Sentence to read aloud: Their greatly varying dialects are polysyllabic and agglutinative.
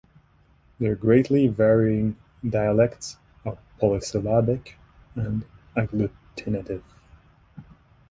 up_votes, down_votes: 1, 2